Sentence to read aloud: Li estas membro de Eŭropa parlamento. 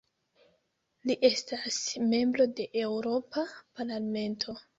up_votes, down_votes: 1, 2